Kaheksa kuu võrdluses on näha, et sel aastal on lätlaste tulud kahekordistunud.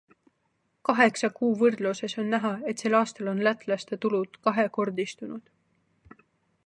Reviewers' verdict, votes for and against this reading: accepted, 2, 0